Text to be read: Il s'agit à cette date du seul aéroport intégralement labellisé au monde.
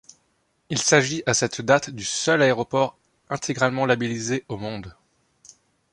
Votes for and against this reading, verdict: 2, 0, accepted